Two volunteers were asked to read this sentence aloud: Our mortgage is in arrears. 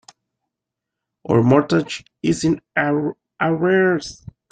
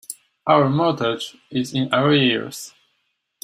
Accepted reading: second